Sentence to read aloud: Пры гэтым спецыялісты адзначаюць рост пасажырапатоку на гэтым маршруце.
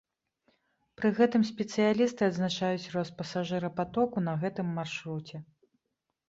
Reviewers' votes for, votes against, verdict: 2, 0, accepted